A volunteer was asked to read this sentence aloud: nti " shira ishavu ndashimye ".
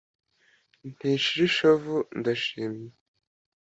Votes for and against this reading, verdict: 2, 0, accepted